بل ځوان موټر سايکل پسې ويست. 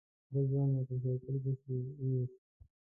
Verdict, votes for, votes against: rejected, 0, 3